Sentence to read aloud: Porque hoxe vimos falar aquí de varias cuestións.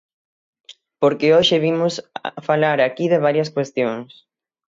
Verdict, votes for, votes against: rejected, 33, 60